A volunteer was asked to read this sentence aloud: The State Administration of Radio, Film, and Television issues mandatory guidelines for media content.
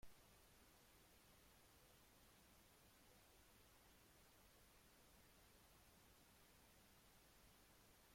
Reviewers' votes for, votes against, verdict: 0, 2, rejected